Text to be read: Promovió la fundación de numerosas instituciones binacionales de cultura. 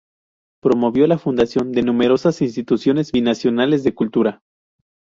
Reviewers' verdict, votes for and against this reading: accepted, 2, 0